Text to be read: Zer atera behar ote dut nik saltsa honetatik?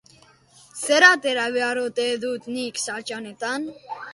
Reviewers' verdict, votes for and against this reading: rejected, 0, 2